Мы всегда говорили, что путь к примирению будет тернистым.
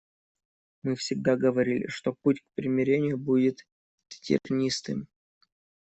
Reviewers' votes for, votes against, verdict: 1, 2, rejected